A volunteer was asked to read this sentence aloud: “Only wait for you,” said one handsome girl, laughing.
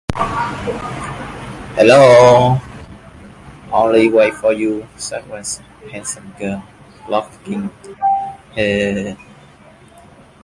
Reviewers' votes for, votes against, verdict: 0, 3, rejected